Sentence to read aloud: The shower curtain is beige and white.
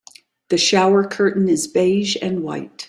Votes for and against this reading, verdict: 2, 0, accepted